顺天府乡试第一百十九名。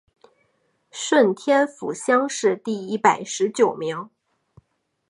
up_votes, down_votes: 2, 0